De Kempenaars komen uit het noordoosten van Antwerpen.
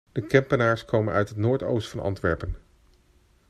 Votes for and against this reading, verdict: 2, 0, accepted